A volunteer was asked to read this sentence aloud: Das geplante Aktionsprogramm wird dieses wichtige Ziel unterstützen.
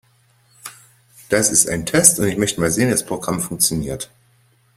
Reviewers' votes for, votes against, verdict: 0, 2, rejected